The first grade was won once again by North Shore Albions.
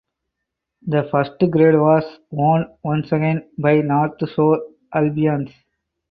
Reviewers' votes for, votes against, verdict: 2, 4, rejected